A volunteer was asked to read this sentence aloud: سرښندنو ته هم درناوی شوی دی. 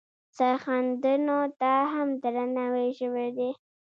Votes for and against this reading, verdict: 0, 2, rejected